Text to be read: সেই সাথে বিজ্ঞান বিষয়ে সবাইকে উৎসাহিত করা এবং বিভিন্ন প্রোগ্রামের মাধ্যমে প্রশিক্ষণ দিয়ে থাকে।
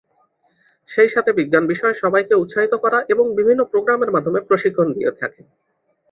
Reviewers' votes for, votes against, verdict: 2, 0, accepted